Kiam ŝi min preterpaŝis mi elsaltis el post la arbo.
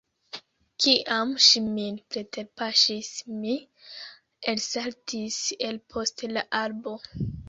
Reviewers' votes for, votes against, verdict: 2, 0, accepted